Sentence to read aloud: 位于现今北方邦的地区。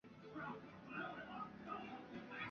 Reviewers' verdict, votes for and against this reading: rejected, 2, 2